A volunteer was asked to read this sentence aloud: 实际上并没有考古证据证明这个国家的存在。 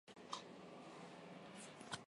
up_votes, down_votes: 3, 1